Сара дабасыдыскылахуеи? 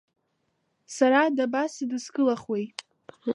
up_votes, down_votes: 2, 0